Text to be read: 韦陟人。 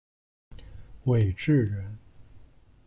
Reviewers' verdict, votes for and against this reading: rejected, 1, 2